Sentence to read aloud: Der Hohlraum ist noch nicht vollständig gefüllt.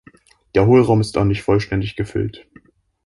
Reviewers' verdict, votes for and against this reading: rejected, 0, 2